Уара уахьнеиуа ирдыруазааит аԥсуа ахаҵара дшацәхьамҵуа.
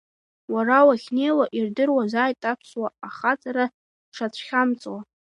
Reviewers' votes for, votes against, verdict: 2, 0, accepted